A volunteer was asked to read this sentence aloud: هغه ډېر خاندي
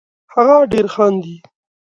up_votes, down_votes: 2, 0